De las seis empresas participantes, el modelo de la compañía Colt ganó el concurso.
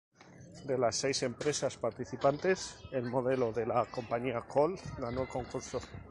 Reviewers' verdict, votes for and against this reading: accepted, 2, 0